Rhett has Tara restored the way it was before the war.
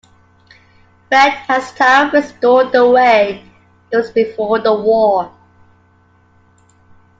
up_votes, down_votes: 2, 0